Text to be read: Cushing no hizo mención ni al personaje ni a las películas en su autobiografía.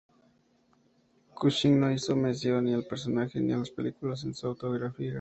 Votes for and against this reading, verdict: 2, 0, accepted